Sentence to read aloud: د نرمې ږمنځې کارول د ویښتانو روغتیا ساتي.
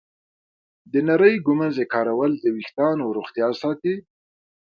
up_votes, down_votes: 2, 0